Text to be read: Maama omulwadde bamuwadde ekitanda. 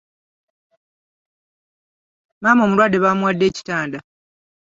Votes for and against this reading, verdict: 2, 0, accepted